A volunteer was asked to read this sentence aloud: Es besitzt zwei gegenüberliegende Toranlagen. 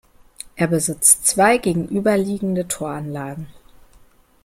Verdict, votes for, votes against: rejected, 1, 2